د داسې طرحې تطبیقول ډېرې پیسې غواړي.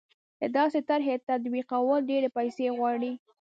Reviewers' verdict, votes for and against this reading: rejected, 1, 2